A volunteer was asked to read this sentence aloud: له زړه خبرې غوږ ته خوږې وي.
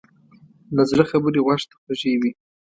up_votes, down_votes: 2, 0